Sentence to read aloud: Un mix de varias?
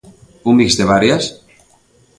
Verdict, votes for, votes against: accepted, 2, 0